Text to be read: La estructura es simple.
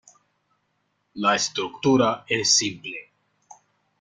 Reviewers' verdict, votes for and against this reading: accepted, 2, 0